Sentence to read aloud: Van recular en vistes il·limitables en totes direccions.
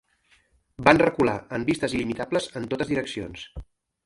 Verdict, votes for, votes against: accepted, 2, 0